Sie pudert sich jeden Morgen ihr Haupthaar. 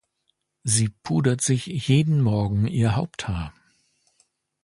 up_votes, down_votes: 2, 0